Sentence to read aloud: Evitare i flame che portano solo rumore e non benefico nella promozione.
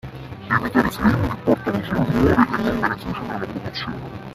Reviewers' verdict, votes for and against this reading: rejected, 0, 2